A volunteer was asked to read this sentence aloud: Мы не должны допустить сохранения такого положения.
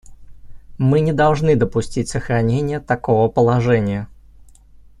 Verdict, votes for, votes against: accepted, 2, 0